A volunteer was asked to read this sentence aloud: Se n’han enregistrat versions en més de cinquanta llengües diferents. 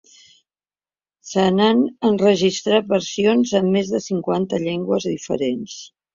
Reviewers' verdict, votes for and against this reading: accepted, 2, 0